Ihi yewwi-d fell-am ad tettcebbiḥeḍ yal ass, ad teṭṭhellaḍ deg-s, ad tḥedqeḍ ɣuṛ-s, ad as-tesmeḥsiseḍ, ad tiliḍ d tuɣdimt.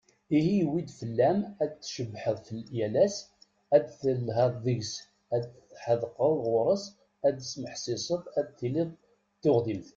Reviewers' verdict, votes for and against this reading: rejected, 1, 2